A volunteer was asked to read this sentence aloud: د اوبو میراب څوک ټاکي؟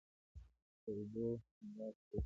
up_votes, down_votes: 1, 2